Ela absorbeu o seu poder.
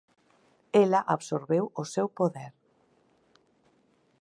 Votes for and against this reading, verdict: 4, 0, accepted